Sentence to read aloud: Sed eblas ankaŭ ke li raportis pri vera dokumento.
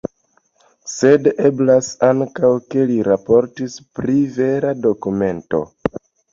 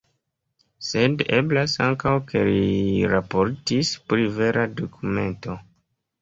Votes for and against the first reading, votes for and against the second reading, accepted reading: 2, 0, 1, 2, first